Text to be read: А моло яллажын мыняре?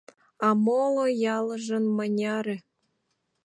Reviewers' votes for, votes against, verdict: 1, 2, rejected